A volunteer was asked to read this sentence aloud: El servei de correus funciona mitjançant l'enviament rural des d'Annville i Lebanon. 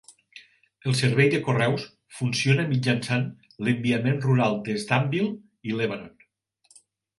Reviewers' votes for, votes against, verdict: 2, 0, accepted